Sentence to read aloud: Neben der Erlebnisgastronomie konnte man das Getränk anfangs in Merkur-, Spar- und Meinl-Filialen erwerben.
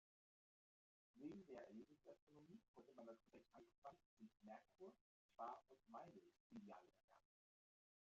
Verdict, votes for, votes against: rejected, 1, 2